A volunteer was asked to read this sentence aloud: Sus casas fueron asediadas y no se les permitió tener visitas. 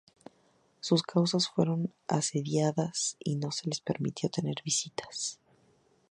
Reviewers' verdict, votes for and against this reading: accepted, 2, 0